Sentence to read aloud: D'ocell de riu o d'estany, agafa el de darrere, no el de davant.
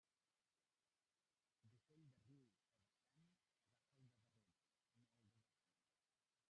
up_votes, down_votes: 0, 2